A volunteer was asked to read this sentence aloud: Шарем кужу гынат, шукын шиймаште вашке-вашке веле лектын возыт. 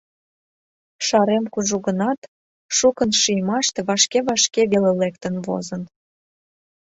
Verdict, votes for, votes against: rejected, 1, 2